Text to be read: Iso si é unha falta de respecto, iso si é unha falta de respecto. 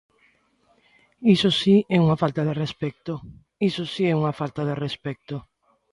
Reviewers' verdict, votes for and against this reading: accepted, 2, 0